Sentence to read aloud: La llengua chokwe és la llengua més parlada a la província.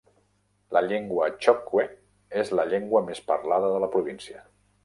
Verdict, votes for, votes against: rejected, 0, 2